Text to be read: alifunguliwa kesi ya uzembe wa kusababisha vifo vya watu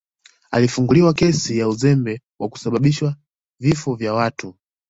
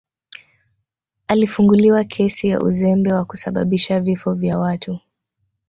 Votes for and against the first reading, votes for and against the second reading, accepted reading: 2, 0, 1, 2, first